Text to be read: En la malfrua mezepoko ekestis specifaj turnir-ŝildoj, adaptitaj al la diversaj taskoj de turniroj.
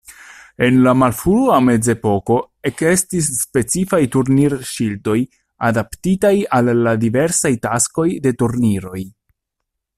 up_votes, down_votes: 2, 0